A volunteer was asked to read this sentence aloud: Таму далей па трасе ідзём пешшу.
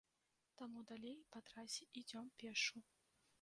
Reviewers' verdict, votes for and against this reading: rejected, 1, 2